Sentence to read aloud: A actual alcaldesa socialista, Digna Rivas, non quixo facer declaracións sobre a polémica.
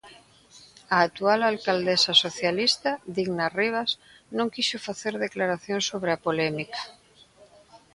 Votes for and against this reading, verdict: 1, 2, rejected